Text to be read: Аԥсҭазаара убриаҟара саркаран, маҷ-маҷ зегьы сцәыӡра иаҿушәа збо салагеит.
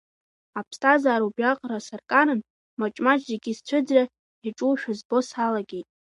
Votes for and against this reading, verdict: 2, 0, accepted